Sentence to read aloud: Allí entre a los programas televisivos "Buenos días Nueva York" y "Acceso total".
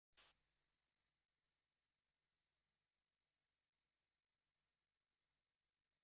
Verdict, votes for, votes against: rejected, 0, 2